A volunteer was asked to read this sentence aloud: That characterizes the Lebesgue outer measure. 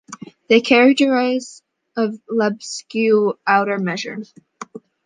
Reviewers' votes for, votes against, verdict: 1, 2, rejected